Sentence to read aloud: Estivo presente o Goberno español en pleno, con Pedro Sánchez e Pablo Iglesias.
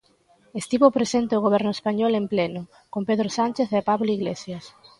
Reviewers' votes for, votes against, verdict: 2, 0, accepted